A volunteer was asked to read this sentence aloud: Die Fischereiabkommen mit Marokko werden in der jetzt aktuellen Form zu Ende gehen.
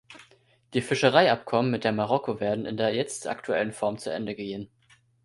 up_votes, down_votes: 1, 2